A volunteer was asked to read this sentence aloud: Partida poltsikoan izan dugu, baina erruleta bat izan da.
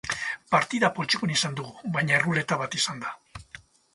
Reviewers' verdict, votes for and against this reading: rejected, 0, 2